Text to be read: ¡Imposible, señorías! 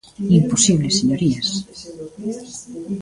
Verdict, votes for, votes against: accepted, 2, 0